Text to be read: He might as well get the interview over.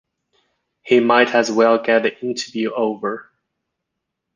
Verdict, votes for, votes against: rejected, 1, 2